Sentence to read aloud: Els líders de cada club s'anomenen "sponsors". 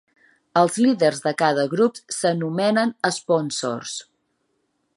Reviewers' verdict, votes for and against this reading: rejected, 1, 2